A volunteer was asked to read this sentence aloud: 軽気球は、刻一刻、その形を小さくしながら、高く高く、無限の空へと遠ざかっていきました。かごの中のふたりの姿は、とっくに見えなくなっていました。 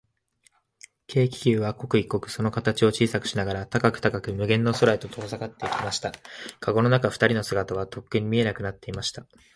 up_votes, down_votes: 1, 2